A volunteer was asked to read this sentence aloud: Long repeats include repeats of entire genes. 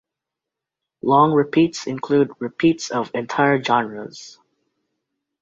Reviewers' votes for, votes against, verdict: 2, 3, rejected